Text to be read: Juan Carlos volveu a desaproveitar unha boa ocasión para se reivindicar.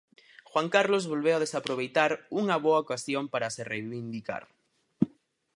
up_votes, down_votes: 2, 2